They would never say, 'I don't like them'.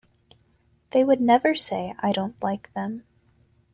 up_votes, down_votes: 2, 0